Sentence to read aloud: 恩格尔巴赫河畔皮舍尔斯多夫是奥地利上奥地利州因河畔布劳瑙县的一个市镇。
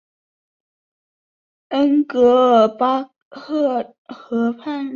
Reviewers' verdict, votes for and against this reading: rejected, 0, 6